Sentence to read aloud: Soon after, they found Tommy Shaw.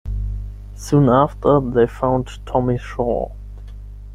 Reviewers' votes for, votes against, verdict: 10, 0, accepted